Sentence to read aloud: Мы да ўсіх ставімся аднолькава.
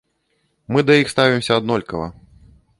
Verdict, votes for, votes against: rejected, 0, 2